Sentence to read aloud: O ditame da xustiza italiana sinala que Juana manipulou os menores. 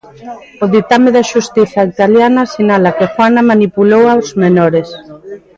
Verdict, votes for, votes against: rejected, 0, 2